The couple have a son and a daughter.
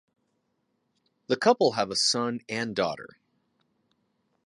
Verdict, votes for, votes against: accepted, 2, 0